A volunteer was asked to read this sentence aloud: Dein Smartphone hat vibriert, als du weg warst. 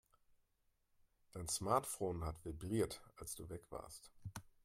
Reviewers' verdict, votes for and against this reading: accepted, 2, 0